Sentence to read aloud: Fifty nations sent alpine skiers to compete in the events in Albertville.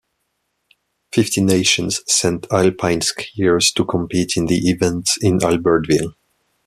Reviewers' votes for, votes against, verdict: 1, 2, rejected